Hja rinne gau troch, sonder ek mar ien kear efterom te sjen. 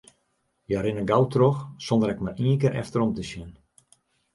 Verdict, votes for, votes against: accepted, 2, 0